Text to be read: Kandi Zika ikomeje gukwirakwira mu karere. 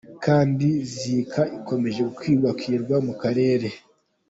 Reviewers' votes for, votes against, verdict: 2, 1, accepted